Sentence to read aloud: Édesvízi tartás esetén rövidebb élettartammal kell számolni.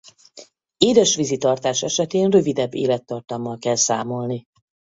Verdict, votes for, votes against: accepted, 4, 0